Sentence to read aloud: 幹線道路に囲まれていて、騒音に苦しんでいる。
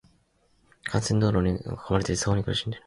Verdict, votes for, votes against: accepted, 2, 0